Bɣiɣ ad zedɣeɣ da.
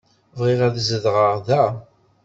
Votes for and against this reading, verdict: 2, 0, accepted